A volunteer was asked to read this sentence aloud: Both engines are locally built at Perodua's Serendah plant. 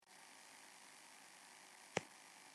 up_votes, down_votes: 0, 2